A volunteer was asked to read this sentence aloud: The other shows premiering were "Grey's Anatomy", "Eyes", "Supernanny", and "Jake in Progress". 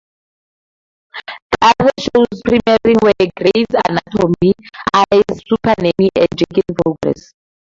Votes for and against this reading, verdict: 0, 2, rejected